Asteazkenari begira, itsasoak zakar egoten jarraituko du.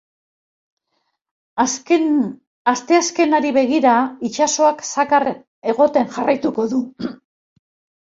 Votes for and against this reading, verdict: 0, 2, rejected